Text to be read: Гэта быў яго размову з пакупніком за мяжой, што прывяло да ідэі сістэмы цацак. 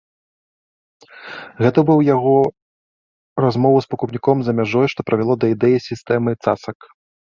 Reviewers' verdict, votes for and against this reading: accepted, 2, 0